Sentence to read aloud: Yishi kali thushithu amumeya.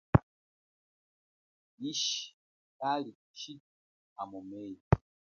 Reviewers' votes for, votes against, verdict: 1, 2, rejected